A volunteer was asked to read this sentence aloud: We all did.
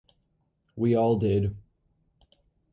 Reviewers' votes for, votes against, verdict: 4, 0, accepted